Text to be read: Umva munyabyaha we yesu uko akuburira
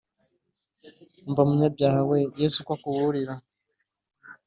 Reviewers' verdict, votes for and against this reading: accepted, 2, 0